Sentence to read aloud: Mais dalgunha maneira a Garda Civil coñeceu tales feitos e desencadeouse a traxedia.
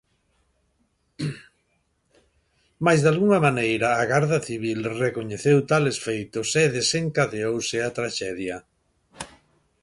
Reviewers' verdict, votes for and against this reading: rejected, 1, 2